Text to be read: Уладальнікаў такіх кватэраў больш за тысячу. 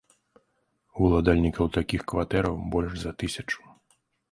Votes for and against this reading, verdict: 2, 0, accepted